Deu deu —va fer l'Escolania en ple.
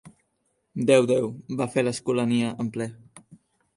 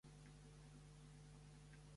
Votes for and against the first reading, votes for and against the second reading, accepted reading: 3, 0, 1, 2, first